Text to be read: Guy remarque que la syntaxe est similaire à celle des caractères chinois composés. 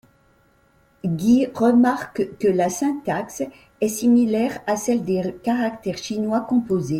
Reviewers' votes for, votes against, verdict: 2, 1, accepted